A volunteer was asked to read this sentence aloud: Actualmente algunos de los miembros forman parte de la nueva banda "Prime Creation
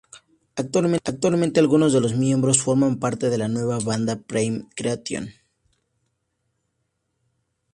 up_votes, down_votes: 2, 0